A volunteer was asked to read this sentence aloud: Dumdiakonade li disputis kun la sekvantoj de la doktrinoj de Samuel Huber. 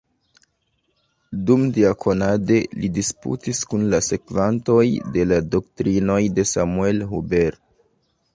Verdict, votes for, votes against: accepted, 2, 0